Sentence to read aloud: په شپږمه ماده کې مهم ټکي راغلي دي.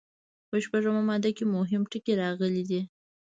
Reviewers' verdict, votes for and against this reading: rejected, 1, 2